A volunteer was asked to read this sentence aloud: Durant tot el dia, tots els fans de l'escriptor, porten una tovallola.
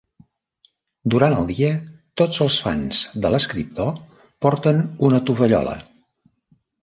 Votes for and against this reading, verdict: 0, 2, rejected